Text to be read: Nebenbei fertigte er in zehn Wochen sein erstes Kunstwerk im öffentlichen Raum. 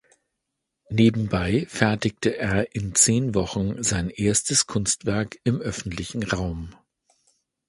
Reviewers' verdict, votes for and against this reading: accepted, 2, 0